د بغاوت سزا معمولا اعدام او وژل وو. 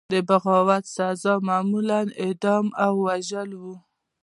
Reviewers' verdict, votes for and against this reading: accepted, 2, 0